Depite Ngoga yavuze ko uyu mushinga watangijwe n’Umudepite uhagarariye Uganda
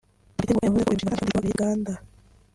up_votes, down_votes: 0, 2